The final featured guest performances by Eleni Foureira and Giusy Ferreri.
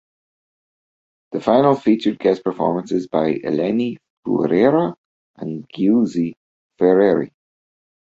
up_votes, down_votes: 0, 2